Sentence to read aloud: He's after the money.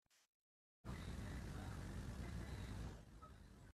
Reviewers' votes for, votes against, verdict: 0, 3, rejected